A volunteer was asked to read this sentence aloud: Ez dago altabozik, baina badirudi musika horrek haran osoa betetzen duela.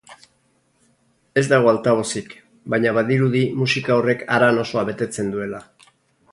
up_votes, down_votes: 2, 0